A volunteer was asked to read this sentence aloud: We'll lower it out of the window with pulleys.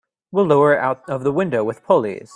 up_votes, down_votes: 2, 0